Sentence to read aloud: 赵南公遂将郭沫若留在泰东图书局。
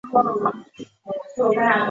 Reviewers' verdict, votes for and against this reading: rejected, 0, 2